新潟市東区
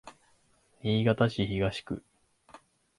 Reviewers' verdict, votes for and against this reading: accepted, 4, 0